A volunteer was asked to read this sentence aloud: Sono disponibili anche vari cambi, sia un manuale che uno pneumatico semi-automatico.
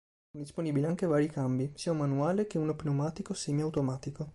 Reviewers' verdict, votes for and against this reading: accepted, 4, 1